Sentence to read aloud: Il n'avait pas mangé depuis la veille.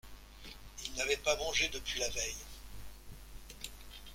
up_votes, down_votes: 2, 0